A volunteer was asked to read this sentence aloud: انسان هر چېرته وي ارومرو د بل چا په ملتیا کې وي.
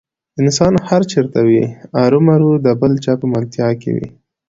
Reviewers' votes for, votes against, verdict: 2, 0, accepted